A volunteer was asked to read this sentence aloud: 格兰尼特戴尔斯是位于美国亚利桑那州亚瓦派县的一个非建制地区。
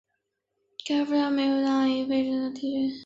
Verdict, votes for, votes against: rejected, 0, 4